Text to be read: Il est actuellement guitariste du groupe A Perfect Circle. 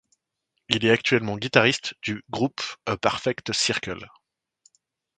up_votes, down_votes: 2, 0